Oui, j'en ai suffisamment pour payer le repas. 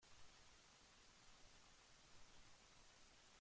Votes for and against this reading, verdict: 0, 2, rejected